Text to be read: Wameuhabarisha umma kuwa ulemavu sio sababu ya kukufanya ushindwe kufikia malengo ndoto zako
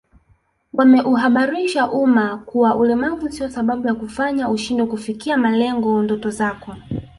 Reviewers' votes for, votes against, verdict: 1, 2, rejected